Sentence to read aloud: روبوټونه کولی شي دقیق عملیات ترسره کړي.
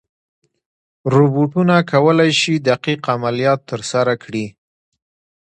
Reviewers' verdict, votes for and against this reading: accepted, 2, 0